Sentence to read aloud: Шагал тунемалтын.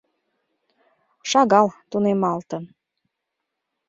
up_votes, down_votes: 2, 0